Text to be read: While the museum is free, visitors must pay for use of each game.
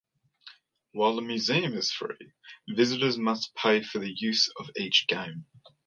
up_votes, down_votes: 0, 2